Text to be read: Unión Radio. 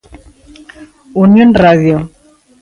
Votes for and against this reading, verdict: 3, 1, accepted